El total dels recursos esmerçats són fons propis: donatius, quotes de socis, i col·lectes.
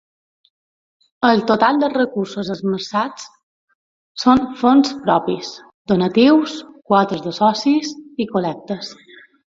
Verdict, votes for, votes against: accepted, 4, 0